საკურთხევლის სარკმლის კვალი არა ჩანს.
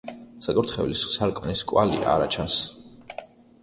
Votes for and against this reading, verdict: 2, 0, accepted